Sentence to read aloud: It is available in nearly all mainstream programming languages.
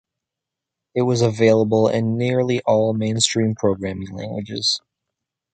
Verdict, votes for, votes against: rejected, 1, 2